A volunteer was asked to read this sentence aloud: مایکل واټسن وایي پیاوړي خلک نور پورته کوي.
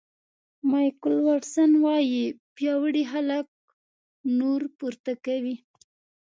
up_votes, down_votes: 2, 0